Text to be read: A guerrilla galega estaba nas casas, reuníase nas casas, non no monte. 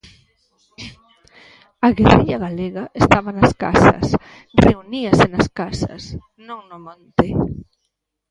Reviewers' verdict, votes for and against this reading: accepted, 2, 0